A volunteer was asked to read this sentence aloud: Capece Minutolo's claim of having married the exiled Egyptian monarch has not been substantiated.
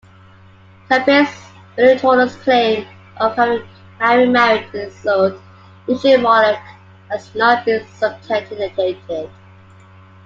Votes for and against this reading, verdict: 0, 2, rejected